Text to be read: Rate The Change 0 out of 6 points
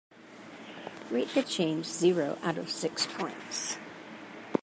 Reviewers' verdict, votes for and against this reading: rejected, 0, 2